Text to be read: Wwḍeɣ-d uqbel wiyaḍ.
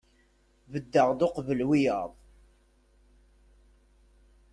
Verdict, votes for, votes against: rejected, 0, 2